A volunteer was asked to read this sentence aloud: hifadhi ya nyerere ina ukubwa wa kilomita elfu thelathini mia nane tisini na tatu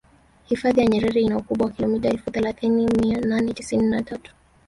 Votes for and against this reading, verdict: 3, 2, accepted